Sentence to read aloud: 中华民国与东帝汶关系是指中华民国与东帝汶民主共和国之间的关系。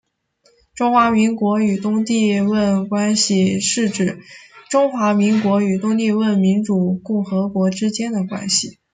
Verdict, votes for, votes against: rejected, 1, 2